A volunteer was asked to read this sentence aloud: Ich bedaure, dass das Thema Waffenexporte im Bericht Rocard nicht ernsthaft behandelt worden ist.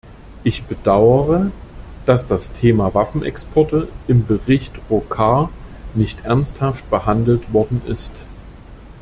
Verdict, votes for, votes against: accepted, 2, 0